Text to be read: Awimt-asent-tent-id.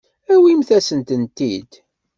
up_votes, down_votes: 2, 0